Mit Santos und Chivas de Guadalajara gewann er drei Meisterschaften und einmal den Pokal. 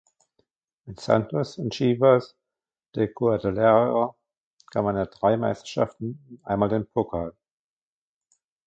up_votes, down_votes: 0, 2